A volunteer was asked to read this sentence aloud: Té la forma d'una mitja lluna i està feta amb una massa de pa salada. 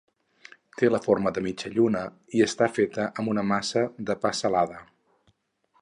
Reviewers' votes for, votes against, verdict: 2, 4, rejected